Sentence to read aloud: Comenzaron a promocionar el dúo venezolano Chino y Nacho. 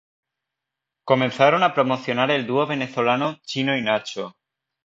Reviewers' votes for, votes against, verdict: 2, 0, accepted